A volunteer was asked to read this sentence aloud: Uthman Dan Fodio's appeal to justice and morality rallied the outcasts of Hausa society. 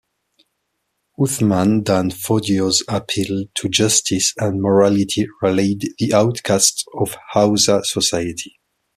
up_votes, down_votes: 1, 2